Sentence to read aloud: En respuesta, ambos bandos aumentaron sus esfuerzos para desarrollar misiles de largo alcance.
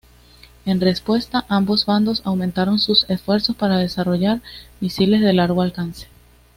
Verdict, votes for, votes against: accepted, 2, 0